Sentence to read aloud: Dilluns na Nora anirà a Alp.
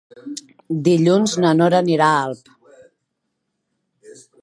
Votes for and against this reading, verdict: 5, 1, accepted